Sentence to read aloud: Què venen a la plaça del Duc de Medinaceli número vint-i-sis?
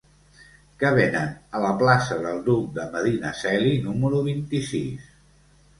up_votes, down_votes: 1, 2